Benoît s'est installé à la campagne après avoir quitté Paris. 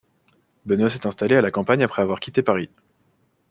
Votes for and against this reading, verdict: 2, 1, accepted